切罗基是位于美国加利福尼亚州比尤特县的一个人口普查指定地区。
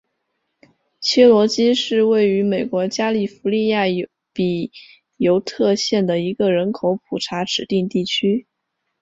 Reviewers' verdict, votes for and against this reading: rejected, 1, 2